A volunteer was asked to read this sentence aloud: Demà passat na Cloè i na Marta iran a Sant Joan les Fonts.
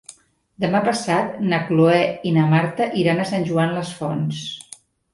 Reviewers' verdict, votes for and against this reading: accepted, 3, 0